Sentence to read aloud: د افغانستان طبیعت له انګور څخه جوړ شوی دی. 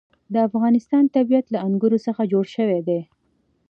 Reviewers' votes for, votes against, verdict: 2, 0, accepted